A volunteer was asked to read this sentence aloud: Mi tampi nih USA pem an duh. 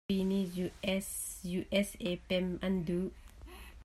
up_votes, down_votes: 1, 2